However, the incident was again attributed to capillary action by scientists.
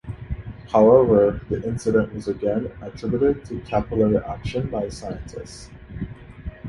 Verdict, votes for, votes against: accepted, 2, 0